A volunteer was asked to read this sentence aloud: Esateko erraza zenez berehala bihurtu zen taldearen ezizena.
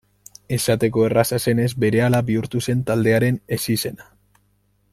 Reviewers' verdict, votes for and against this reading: rejected, 1, 2